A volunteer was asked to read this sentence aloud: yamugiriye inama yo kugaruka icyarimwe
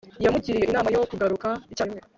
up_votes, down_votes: 1, 2